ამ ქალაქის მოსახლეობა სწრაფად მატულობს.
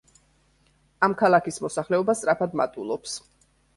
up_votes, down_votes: 3, 0